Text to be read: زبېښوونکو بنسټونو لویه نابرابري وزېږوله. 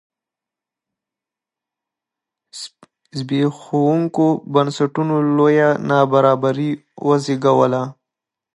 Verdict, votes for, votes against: rejected, 2, 3